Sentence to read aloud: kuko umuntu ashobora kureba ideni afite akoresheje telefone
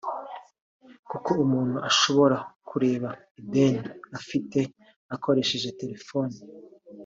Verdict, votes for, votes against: accepted, 2, 1